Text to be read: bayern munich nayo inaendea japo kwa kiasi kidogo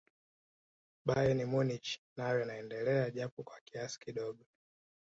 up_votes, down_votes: 2, 0